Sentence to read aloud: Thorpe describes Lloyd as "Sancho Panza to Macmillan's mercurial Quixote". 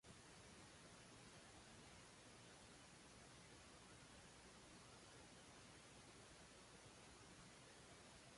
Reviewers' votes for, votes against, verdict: 0, 2, rejected